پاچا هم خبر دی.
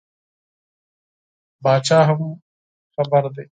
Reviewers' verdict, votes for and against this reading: accepted, 4, 2